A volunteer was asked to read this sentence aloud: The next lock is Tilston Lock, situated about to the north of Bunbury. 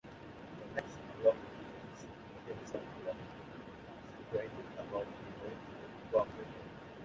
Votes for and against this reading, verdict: 0, 2, rejected